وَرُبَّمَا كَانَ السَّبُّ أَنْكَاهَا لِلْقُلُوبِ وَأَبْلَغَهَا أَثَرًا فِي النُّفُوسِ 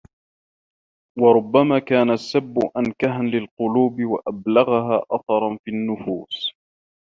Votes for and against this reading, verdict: 0, 2, rejected